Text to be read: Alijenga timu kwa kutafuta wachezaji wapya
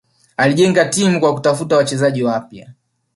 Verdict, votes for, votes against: rejected, 1, 2